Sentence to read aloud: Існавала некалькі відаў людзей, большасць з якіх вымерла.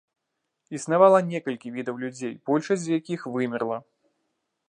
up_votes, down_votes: 2, 0